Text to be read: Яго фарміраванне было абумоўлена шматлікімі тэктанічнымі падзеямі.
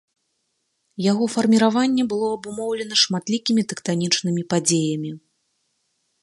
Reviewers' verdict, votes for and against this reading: accepted, 2, 0